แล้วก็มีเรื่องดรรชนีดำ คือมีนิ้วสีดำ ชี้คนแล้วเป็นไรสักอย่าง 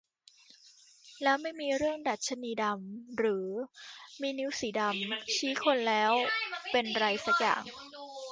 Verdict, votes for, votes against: rejected, 0, 2